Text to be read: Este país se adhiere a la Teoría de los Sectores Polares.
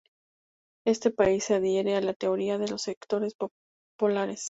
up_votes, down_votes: 2, 0